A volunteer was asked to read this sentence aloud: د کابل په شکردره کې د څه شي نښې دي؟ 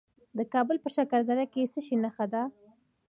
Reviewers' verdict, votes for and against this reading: accepted, 2, 0